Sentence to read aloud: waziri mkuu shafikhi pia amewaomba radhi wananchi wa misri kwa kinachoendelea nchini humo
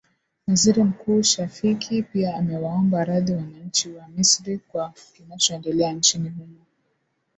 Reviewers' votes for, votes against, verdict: 2, 0, accepted